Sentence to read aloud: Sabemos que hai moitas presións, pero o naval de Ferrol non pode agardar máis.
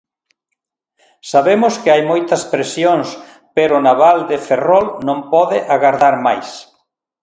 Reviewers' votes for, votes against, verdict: 2, 0, accepted